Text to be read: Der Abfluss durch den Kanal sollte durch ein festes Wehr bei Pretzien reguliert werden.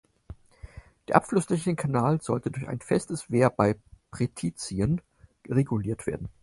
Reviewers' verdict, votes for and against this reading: rejected, 0, 4